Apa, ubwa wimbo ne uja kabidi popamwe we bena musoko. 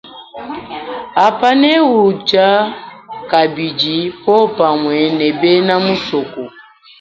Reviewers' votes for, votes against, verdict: 0, 3, rejected